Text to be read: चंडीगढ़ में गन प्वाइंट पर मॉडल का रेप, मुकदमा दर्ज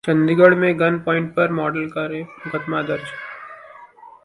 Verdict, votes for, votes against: rejected, 1, 2